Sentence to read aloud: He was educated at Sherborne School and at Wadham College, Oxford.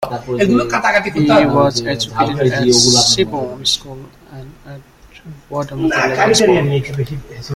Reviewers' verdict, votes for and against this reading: rejected, 0, 2